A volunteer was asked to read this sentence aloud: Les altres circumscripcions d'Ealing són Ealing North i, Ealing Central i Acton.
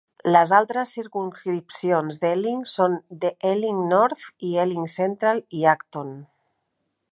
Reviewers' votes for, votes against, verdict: 3, 4, rejected